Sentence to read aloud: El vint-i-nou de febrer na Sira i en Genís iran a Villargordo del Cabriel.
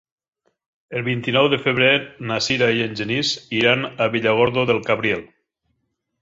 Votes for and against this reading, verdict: 2, 0, accepted